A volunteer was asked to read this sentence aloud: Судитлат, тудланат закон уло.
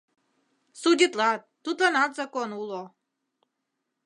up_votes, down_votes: 2, 0